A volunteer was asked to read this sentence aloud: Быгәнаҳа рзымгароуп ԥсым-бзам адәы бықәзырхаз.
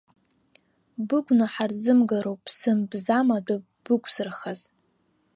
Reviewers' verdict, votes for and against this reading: accepted, 2, 1